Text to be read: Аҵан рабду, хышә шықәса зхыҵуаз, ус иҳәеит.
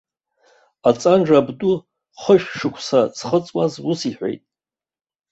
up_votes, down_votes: 1, 2